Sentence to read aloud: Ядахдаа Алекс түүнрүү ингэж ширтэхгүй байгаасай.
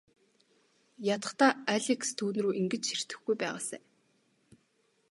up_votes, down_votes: 2, 0